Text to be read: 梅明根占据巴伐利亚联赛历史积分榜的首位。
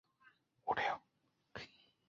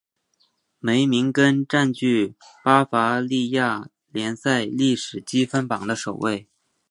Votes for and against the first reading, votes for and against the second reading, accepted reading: 0, 2, 2, 1, second